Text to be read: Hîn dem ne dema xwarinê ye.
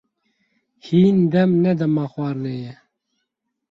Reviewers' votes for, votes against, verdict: 4, 0, accepted